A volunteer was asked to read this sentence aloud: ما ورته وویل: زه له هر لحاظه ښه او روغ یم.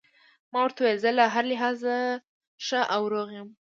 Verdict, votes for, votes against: accepted, 2, 0